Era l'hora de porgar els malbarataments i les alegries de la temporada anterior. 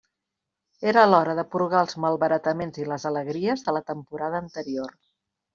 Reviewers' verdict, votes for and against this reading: accepted, 2, 0